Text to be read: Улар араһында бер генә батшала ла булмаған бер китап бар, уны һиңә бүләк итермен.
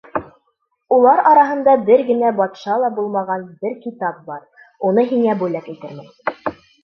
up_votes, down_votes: 0, 2